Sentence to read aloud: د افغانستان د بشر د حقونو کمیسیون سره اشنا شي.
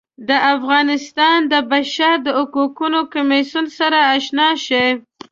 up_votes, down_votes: 0, 2